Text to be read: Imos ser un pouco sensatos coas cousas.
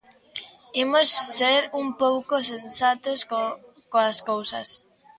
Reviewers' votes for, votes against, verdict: 0, 2, rejected